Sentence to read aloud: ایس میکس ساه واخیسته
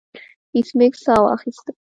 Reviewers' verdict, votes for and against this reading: accepted, 2, 0